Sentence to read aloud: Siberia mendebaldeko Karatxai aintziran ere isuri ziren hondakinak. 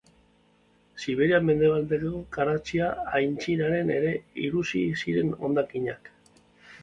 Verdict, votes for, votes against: rejected, 1, 2